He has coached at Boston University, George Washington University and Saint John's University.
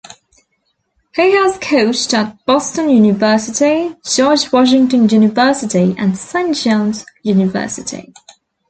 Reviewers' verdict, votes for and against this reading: accepted, 2, 1